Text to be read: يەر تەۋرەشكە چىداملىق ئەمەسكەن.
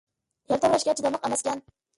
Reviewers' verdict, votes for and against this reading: rejected, 1, 2